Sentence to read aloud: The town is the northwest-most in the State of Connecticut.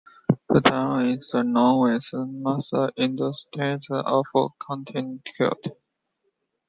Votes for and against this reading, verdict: 0, 2, rejected